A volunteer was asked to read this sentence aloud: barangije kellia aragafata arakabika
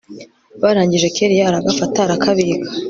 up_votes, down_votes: 2, 0